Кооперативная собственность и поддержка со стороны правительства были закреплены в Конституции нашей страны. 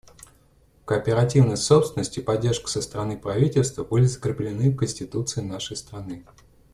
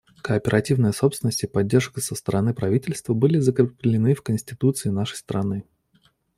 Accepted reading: first